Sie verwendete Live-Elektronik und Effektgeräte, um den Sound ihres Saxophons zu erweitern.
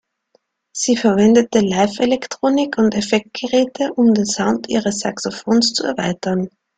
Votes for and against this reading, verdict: 2, 0, accepted